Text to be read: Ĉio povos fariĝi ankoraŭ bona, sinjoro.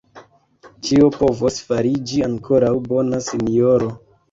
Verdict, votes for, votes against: rejected, 1, 2